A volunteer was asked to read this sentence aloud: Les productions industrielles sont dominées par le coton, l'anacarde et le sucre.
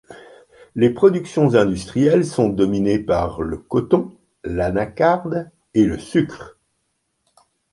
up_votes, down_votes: 2, 0